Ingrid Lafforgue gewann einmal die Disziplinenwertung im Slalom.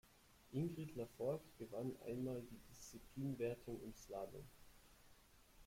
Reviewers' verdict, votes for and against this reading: rejected, 1, 2